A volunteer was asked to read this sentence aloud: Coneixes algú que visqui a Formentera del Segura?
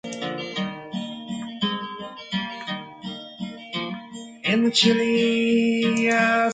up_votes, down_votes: 0, 3